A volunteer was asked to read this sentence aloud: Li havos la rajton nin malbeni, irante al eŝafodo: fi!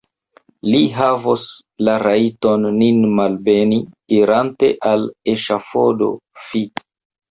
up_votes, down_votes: 0, 2